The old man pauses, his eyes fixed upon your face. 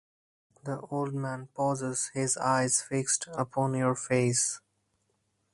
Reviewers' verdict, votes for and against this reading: accepted, 4, 0